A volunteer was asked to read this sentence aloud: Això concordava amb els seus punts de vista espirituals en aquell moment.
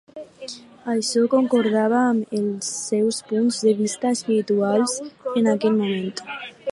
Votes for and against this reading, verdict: 4, 2, accepted